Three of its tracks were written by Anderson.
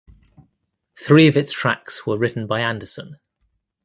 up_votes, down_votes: 2, 0